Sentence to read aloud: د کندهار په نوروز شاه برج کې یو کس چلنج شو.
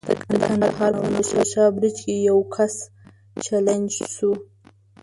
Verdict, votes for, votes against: rejected, 1, 2